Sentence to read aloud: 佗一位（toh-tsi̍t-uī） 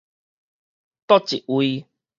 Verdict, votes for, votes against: accepted, 4, 0